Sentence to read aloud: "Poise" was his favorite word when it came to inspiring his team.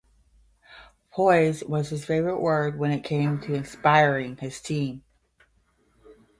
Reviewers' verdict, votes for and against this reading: rejected, 5, 5